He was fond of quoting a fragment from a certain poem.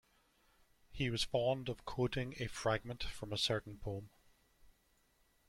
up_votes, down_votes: 2, 0